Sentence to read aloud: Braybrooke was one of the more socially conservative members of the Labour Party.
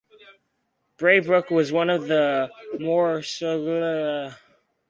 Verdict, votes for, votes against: rejected, 0, 2